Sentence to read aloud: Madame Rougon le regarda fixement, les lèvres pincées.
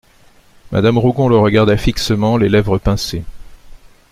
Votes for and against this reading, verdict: 2, 0, accepted